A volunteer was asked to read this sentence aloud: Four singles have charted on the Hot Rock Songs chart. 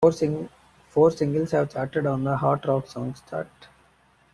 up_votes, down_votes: 0, 2